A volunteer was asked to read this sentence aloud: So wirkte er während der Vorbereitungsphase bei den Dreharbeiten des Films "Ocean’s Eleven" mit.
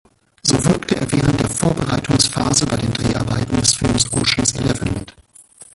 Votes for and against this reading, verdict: 1, 2, rejected